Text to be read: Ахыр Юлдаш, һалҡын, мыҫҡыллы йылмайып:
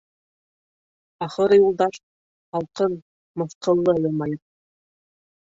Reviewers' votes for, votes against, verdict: 1, 2, rejected